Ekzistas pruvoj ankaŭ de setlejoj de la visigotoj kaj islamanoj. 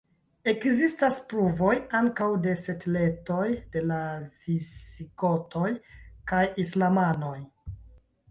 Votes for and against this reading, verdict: 2, 3, rejected